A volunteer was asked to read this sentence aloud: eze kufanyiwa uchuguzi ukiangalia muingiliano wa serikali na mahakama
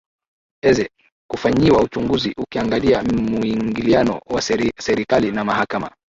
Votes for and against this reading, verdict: 0, 2, rejected